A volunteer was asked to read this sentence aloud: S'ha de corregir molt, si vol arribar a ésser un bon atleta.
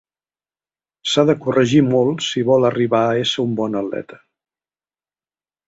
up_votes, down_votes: 4, 0